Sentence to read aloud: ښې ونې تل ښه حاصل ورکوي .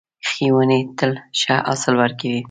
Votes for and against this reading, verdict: 1, 2, rejected